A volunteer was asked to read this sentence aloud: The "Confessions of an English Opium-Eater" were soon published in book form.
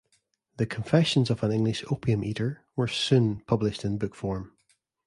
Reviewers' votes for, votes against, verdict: 2, 0, accepted